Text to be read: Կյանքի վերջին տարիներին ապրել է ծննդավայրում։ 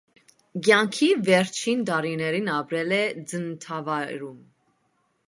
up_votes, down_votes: 2, 0